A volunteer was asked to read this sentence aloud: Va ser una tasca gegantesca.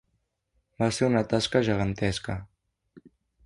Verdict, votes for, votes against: accepted, 2, 0